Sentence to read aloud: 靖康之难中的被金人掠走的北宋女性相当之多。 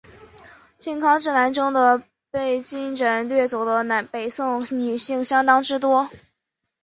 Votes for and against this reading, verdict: 2, 2, rejected